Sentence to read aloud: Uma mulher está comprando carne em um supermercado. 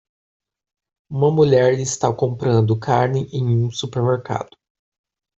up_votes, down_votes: 2, 0